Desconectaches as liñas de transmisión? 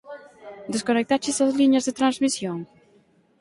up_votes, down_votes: 4, 0